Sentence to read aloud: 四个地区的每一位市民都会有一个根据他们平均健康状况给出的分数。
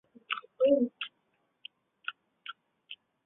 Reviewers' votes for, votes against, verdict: 1, 4, rejected